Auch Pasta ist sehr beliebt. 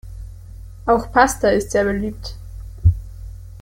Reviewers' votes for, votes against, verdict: 2, 0, accepted